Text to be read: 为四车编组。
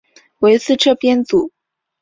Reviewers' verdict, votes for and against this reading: accepted, 3, 0